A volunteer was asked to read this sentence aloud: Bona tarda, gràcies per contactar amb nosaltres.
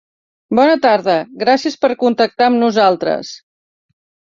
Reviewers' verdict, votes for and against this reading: accepted, 3, 0